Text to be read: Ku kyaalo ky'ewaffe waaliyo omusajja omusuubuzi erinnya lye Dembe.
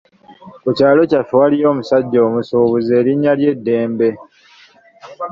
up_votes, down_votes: 1, 2